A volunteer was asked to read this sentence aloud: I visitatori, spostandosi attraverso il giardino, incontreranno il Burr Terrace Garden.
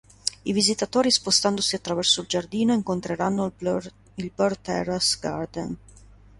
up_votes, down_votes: 1, 2